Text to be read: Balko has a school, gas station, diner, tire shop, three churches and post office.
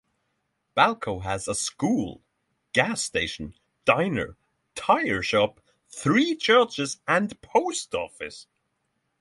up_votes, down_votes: 6, 0